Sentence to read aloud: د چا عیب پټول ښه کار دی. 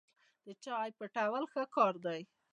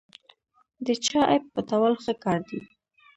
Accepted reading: first